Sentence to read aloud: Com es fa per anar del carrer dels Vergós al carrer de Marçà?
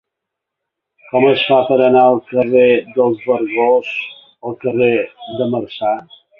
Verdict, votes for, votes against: rejected, 0, 2